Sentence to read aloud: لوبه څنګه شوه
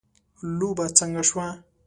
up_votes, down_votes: 2, 0